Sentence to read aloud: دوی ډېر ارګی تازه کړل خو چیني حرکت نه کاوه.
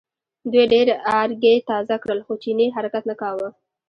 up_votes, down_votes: 2, 1